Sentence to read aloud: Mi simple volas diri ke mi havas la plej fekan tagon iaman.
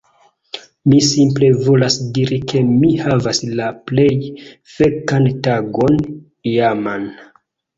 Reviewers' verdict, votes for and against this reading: accepted, 2, 0